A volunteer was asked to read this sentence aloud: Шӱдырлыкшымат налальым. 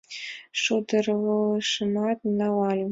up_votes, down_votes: 0, 2